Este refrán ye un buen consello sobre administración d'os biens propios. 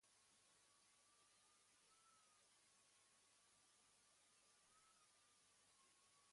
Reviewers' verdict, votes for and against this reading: rejected, 1, 2